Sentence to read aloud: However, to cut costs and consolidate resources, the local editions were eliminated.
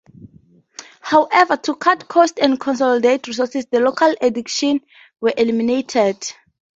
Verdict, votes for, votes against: rejected, 2, 2